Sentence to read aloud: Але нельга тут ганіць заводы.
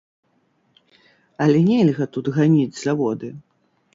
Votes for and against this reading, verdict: 0, 2, rejected